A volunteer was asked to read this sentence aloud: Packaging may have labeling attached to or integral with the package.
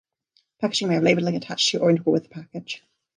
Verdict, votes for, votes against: rejected, 0, 2